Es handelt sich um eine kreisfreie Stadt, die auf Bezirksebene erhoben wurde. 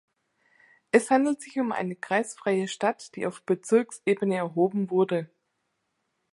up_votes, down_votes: 3, 0